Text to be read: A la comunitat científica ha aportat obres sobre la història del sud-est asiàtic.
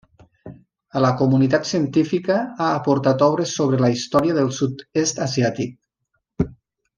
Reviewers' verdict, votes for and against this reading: rejected, 1, 2